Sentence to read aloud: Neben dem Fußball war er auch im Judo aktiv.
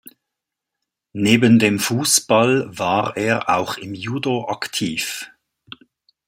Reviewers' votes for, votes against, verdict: 2, 0, accepted